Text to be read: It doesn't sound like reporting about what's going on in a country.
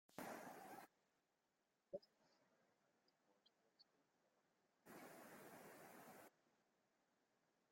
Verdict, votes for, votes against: rejected, 0, 4